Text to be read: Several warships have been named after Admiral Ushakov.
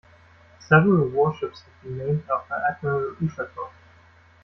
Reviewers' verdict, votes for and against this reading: accepted, 2, 1